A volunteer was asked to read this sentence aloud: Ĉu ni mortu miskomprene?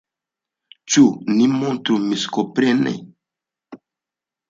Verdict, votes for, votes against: rejected, 0, 2